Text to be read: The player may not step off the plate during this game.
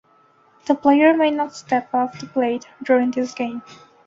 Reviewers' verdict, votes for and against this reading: accepted, 2, 0